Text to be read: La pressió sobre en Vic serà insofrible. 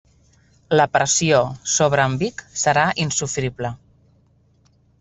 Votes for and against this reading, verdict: 2, 1, accepted